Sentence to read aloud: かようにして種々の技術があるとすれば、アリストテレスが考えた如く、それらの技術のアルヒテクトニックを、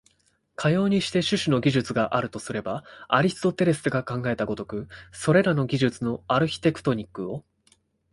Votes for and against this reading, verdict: 2, 1, accepted